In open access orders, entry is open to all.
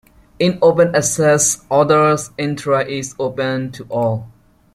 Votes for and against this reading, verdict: 1, 2, rejected